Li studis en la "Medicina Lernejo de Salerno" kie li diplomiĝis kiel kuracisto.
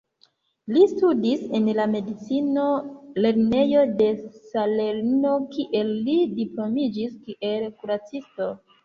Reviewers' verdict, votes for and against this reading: rejected, 1, 2